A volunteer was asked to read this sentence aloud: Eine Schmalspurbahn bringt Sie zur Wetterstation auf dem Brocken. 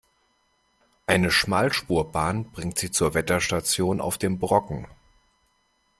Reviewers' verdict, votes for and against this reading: accepted, 2, 0